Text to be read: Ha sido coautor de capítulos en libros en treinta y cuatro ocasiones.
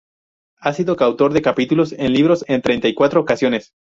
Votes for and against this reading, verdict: 0, 4, rejected